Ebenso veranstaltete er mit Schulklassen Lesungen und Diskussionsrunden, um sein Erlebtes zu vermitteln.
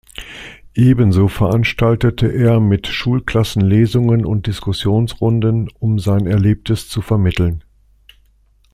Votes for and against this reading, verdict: 2, 0, accepted